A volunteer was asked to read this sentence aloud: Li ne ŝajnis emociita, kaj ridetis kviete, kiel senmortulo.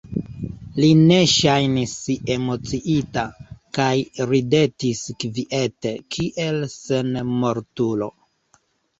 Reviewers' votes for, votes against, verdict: 2, 0, accepted